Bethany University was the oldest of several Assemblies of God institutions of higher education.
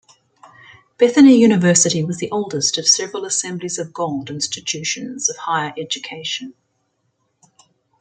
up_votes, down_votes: 0, 2